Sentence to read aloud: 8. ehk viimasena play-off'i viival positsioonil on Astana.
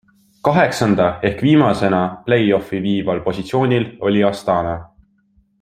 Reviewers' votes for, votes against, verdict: 0, 2, rejected